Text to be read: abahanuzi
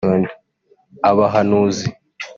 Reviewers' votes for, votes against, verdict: 3, 0, accepted